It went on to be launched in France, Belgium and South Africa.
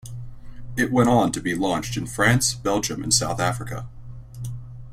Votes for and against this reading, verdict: 2, 0, accepted